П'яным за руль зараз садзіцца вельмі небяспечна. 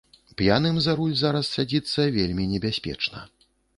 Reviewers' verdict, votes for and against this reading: accepted, 3, 0